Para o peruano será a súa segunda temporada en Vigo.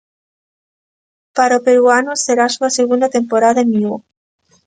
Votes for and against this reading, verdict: 2, 0, accepted